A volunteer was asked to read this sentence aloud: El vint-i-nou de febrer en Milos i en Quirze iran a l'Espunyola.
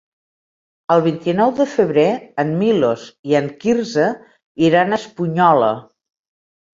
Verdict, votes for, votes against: rejected, 0, 2